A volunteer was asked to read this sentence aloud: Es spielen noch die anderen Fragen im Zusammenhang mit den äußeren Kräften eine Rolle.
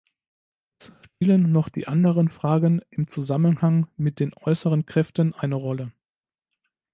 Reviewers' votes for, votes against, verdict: 0, 3, rejected